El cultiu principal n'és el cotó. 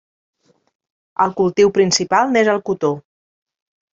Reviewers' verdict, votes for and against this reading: accepted, 3, 1